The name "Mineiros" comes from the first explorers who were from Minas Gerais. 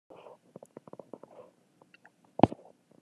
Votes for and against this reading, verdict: 0, 3, rejected